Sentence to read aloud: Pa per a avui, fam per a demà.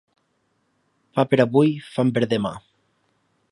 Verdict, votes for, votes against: rejected, 0, 2